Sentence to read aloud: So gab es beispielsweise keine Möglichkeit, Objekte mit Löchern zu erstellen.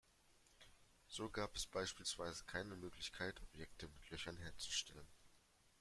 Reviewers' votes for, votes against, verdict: 1, 2, rejected